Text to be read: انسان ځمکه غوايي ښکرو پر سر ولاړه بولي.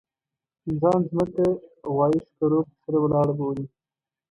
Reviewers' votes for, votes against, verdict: 0, 2, rejected